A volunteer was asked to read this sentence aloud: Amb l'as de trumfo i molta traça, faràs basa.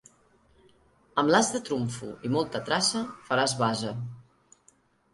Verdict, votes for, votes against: accepted, 2, 0